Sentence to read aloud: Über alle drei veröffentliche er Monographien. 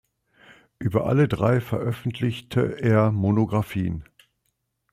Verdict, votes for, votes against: accepted, 2, 0